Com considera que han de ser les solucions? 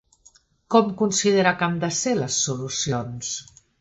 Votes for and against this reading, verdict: 2, 0, accepted